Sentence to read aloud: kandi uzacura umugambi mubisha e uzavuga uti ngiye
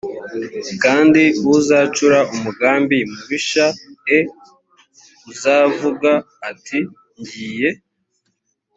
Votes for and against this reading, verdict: 1, 2, rejected